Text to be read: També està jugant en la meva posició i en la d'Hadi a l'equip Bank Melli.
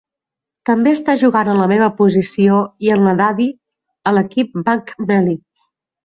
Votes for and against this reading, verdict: 2, 1, accepted